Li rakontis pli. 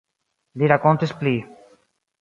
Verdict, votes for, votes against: accepted, 2, 0